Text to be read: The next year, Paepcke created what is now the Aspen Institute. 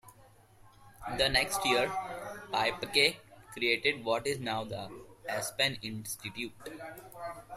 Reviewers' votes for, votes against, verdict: 2, 0, accepted